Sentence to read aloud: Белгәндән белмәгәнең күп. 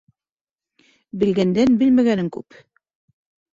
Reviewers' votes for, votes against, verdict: 2, 0, accepted